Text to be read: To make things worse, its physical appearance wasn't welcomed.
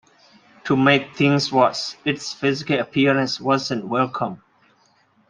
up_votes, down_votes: 2, 1